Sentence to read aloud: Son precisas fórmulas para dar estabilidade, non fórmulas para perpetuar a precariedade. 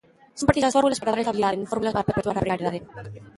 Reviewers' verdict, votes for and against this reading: rejected, 0, 2